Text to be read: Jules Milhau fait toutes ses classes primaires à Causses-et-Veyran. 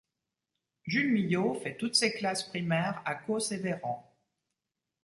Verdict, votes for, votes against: accepted, 2, 0